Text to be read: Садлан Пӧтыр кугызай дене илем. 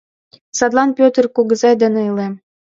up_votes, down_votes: 2, 0